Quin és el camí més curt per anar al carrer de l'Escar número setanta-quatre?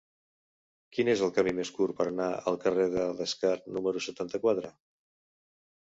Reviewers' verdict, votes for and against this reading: rejected, 0, 2